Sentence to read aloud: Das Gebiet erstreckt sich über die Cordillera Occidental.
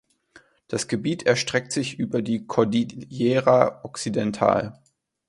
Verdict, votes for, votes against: rejected, 1, 2